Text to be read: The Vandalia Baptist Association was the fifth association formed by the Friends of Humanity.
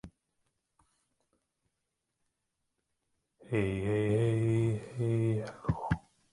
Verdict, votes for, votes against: rejected, 0, 2